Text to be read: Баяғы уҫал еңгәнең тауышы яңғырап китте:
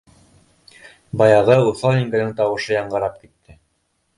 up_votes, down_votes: 1, 2